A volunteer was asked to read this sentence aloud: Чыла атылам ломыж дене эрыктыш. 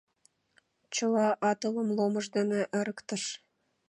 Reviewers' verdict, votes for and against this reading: rejected, 1, 2